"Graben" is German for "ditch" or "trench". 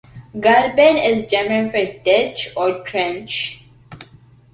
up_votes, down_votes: 2, 1